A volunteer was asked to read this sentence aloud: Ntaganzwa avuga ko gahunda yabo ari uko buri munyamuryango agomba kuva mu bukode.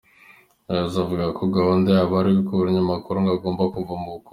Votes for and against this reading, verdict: 0, 2, rejected